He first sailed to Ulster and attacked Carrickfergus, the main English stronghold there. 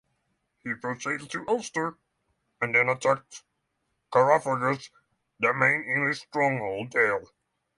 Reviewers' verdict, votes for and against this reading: rejected, 0, 6